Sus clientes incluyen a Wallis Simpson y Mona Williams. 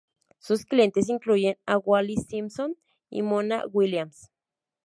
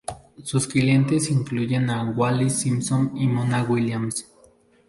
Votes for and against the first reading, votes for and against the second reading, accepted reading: 0, 2, 2, 0, second